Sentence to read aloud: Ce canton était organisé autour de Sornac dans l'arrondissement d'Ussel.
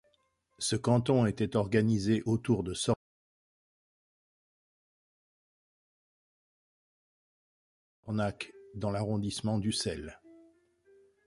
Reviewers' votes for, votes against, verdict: 1, 2, rejected